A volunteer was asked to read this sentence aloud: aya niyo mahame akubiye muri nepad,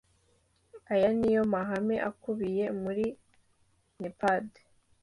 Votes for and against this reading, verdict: 2, 0, accepted